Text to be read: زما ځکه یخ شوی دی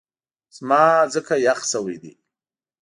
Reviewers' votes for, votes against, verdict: 2, 0, accepted